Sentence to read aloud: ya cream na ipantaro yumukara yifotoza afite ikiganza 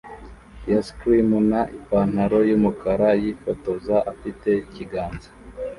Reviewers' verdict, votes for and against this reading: rejected, 0, 2